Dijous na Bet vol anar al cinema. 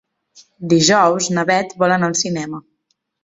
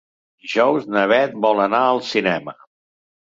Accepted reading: first